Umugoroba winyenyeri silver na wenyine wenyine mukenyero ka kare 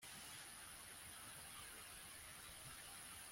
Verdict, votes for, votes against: rejected, 0, 2